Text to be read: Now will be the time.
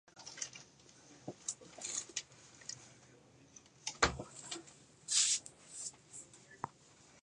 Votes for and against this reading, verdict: 0, 2, rejected